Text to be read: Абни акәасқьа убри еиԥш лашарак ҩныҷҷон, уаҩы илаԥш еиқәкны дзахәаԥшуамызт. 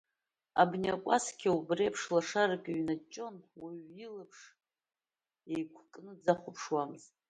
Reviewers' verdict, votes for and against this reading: rejected, 1, 2